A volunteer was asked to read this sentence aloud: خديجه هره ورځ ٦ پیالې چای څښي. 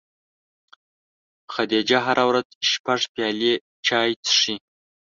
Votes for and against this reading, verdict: 0, 2, rejected